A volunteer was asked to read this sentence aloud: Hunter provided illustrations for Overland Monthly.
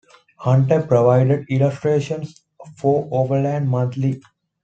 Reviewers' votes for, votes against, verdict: 2, 0, accepted